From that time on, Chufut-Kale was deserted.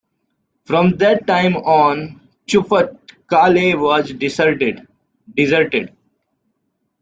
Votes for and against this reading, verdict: 1, 2, rejected